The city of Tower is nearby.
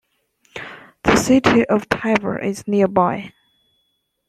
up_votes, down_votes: 1, 2